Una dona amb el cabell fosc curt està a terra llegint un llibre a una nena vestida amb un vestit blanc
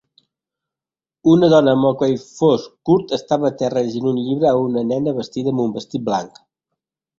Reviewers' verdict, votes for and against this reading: rejected, 0, 2